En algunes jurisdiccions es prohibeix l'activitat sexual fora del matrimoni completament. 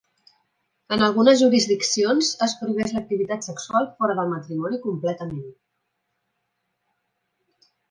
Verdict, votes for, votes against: accepted, 3, 0